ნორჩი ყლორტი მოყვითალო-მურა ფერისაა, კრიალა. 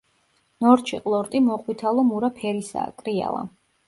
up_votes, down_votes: 2, 0